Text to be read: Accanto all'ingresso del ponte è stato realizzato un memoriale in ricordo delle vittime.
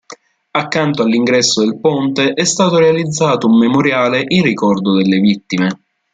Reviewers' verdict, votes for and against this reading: accepted, 2, 0